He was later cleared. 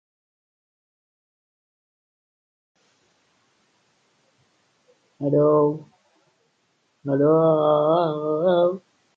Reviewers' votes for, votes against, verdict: 0, 2, rejected